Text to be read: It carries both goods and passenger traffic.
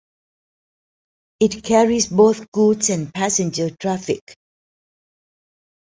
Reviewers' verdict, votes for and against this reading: accepted, 2, 0